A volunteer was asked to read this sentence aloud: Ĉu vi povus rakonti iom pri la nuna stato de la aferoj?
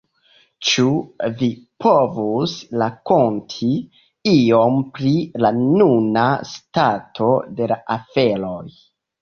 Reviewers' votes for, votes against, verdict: 2, 1, accepted